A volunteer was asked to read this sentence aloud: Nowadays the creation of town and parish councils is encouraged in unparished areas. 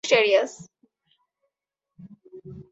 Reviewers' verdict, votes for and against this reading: accepted, 2, 0